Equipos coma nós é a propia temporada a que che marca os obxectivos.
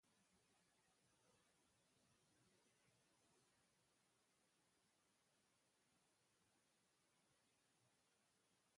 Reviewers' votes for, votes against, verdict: 0, 2, rejected